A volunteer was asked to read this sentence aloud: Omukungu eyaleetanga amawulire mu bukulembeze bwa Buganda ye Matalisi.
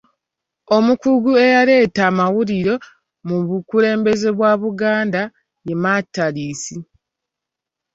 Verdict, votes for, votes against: rejected, 1, 2